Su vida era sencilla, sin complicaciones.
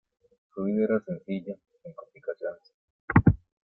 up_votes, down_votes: 1, 2